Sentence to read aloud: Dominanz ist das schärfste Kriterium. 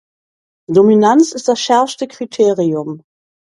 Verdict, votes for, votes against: accepted, 2, 0